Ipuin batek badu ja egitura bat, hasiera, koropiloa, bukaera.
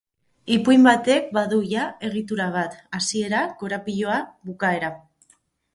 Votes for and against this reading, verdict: 4, 0, accepted